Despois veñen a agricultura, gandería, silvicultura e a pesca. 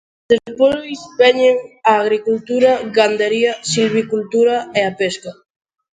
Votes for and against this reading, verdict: 1, 3, rejected